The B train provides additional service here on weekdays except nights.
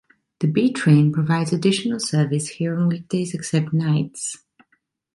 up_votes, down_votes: 2, 0